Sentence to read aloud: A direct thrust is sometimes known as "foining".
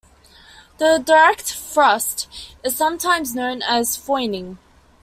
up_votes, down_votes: 2, 0